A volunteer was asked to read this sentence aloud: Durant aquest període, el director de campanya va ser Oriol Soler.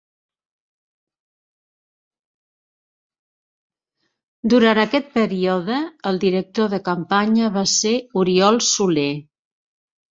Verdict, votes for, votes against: accepted, 2, 1